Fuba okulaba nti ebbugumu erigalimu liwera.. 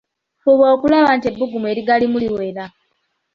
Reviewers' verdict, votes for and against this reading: accepted, 2, 1